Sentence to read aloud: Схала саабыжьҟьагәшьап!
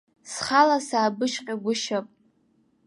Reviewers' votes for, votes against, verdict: 1, 2, rejected